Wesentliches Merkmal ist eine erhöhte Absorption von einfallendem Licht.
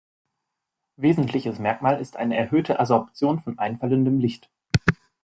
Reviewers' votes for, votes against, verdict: 0, 2, rejected